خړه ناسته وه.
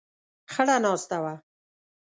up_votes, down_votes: 1, 2